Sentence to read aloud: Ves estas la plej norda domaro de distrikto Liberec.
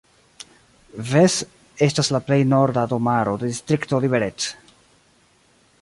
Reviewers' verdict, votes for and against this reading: accepted, 2, 1